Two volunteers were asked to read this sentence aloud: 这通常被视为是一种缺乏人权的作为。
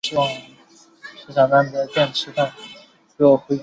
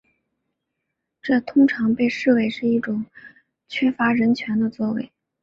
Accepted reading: second